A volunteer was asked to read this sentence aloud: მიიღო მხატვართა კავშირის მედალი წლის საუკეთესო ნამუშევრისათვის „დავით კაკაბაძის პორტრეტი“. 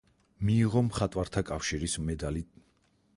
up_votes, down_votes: 2, 4